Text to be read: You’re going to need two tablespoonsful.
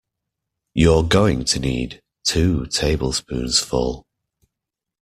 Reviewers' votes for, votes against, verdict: 2, 0, accepted